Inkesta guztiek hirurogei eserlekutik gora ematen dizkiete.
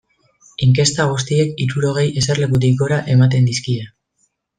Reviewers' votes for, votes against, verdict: 1, 2, rejected